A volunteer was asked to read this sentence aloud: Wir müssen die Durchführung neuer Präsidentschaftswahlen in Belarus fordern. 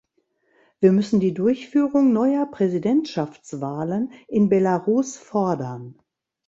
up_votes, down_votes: 2, 0